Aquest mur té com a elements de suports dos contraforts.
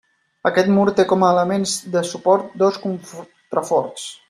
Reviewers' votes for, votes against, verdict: 0, 2, rejected